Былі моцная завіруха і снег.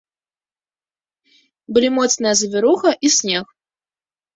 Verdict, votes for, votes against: accepted, 2, 0